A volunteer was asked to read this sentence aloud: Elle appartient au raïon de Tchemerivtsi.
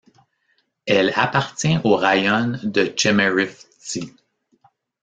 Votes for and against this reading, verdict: 1, 2, rejected